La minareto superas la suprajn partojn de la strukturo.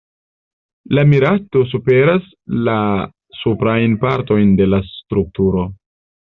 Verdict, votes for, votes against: rejected, 0, 2